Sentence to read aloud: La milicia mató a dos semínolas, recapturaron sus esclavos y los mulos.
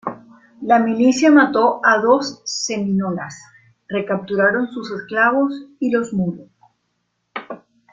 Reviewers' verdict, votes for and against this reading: rejected, 0, 2